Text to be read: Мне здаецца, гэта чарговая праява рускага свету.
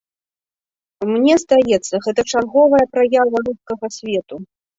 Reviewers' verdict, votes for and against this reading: rejected, 1, 2